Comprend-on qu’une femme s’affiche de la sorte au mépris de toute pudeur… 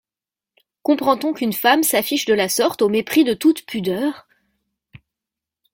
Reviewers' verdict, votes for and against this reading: accepted, 2, 0